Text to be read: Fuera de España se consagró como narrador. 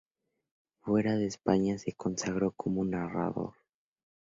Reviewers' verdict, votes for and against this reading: accepted, 2, 0